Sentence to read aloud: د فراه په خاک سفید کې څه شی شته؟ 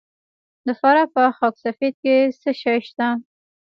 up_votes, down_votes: 0, 2